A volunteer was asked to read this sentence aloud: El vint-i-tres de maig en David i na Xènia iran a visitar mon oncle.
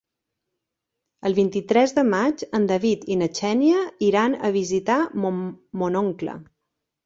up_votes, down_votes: 0, 2